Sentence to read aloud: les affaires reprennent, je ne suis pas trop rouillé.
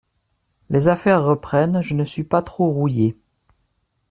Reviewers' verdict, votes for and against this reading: accepted, 2, 0